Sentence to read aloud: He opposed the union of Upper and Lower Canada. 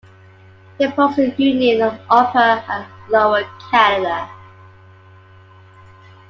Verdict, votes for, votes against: accepted, 2, 1